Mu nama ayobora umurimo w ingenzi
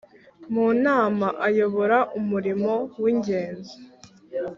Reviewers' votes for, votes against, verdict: 3, 0, accepted